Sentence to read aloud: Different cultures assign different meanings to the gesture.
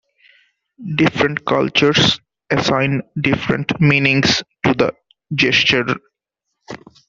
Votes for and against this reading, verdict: 2, 0, accepted